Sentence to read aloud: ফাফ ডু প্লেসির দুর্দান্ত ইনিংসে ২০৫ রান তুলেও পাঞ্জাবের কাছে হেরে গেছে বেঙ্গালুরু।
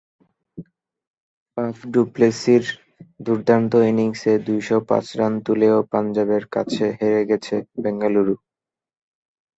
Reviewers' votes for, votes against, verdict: 0, 2, rejected